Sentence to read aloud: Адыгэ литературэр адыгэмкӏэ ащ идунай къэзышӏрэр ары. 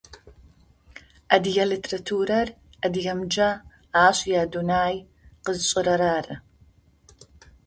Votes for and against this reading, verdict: 0, 2, rejected